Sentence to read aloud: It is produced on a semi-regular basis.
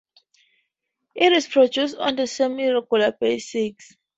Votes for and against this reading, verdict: 0, 2, rejected